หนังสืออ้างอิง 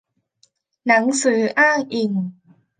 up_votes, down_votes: 2, 0